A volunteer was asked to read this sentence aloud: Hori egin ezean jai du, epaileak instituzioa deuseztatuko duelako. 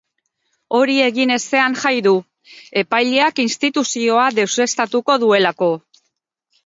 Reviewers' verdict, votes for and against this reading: accepted, 4, 0